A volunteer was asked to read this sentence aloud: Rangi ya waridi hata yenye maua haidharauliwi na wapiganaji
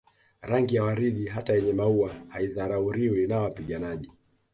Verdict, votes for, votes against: accepted, 2, 0